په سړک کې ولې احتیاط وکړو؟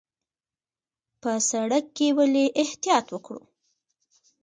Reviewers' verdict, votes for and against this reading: accepted, 2, 1